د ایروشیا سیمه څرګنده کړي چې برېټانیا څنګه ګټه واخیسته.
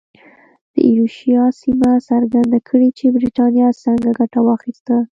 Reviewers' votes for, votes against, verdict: 0, 2, rejected